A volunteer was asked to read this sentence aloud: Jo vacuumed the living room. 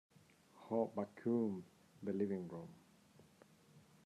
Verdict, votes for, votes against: rejected, 0, 2